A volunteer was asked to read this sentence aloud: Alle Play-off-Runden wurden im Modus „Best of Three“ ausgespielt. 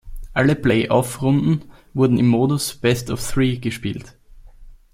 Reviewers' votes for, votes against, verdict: 1, 2, rejected